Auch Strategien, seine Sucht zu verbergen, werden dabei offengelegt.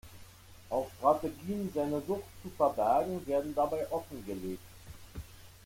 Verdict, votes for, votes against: rejected, 1, 2